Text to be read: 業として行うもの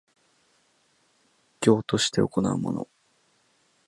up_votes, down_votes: 1, 2